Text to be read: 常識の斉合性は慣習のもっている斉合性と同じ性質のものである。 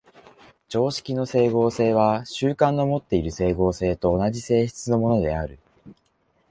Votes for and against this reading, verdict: 0, 2, rejected